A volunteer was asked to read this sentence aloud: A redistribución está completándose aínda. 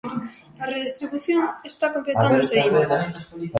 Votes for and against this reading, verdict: 0, 2, rejected